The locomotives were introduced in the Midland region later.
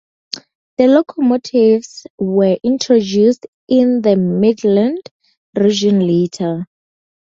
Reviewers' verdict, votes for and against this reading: accepted, 2, 0